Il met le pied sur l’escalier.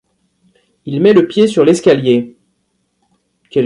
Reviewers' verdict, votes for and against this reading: rejected, 1, 2